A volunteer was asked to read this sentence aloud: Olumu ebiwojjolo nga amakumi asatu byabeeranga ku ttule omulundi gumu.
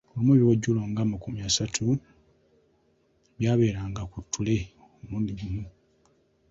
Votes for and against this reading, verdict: 2, 0, accepted